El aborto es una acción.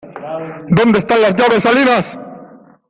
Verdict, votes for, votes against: rejected, 0, 2